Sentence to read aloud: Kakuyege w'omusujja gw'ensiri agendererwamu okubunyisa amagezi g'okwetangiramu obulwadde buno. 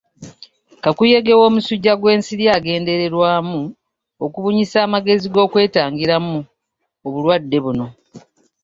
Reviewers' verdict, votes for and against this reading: accepted, 2, 1